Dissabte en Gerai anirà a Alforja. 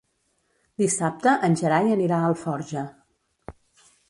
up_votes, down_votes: 2, 0